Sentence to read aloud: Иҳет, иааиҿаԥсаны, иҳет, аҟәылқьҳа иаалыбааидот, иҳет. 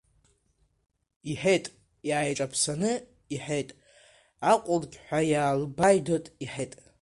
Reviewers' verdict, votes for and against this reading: rejected, 0, 2